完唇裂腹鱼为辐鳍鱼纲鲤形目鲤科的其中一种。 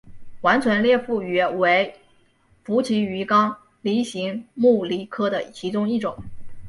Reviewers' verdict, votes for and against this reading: accepted, 6, 0